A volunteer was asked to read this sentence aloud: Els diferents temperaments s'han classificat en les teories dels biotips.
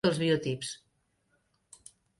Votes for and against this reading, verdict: 0, 2, rejected